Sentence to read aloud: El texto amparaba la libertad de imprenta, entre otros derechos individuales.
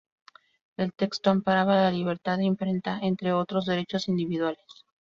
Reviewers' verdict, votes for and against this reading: rejected, 0, 2